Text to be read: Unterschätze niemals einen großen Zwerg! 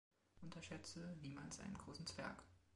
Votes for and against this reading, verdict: 2, 1, accepted